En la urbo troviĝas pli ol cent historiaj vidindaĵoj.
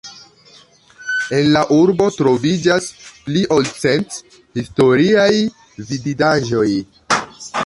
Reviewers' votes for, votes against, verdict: 0, 2, rejected